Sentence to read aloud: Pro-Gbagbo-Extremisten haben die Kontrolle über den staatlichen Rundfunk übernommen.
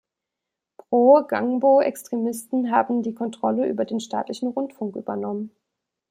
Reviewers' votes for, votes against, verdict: 1, 2, rejected